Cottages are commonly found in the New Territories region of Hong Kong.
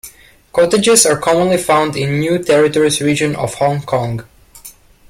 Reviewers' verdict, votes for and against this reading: accepted, 2, 0